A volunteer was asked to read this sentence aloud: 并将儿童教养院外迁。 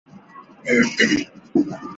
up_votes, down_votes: 2, 1